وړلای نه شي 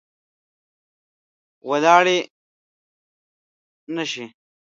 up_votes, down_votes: 1, 2